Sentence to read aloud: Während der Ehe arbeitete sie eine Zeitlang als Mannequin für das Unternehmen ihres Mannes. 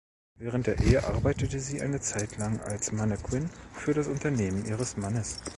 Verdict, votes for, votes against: rejected, 1, 2